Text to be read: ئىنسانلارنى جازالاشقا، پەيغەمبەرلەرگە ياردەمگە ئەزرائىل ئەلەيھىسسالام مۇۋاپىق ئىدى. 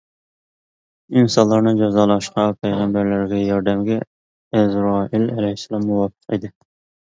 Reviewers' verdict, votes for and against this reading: rejected, 0, 2